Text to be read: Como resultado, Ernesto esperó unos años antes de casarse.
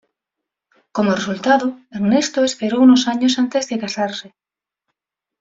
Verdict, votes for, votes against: accepted, 2, 0